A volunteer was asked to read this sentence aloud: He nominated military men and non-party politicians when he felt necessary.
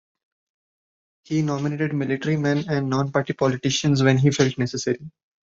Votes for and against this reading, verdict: 2, 0, accepted